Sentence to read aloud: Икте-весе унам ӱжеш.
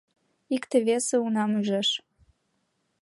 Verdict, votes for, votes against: accepted, 2, 1